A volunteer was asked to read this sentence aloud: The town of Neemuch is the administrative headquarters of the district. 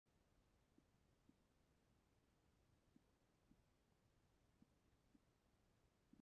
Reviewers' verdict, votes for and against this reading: rejected, 0, 2